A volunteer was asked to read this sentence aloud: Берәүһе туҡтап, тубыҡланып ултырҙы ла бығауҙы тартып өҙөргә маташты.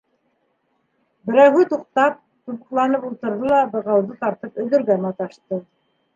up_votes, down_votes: 3, 0